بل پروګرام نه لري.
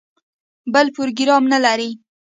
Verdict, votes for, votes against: accepted, 2, 0